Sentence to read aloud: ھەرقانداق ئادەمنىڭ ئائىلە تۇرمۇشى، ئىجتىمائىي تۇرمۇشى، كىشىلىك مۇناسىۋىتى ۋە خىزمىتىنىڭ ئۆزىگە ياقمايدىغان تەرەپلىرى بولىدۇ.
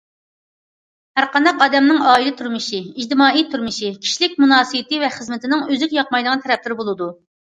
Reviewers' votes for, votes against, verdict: 2, 0, accepted